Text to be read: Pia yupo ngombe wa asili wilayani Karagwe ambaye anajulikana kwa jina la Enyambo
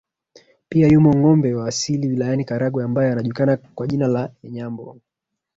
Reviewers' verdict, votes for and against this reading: rejected, 1, 2